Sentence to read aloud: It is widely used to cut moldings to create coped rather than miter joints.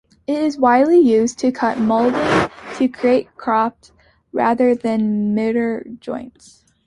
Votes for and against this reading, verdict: 0, 2, rejected